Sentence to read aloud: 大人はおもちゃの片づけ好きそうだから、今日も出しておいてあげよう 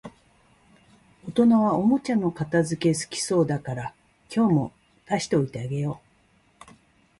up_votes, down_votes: 2, 0